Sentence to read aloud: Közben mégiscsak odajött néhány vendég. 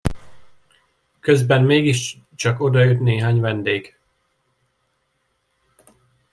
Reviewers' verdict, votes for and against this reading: rejected, 1, 2